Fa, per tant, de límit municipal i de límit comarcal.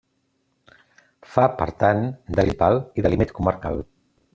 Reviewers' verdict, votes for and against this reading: rejected, 0, 2